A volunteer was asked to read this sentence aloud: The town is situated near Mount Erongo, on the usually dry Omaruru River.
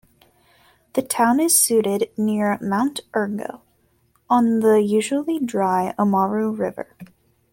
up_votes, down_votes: 0, 2